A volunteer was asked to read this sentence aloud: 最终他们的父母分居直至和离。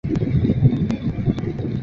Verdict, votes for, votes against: rejected, 1, 2